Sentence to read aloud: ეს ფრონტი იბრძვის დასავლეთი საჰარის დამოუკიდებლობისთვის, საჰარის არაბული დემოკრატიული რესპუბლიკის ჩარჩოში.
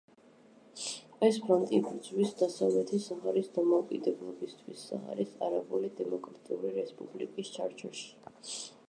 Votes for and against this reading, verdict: 2, 0, accepted